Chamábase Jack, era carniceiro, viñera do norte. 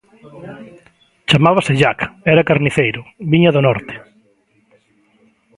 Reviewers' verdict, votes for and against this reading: rejected, 1, 2